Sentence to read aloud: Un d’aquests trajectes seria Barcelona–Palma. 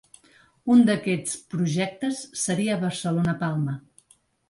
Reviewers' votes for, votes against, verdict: 1, 2, rejected